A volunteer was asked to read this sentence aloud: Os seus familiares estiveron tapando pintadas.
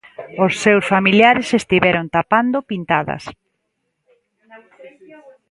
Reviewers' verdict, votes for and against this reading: rejected, 1, 2